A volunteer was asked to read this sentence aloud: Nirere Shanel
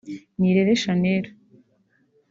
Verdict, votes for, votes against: accepted, 3, 0